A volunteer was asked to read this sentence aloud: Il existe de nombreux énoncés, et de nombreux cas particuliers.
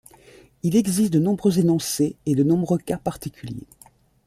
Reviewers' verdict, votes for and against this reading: accepted, 2, 0